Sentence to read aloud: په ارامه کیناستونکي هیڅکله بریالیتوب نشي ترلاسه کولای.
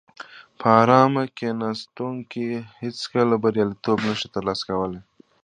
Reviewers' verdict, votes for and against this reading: accepted, 2, 0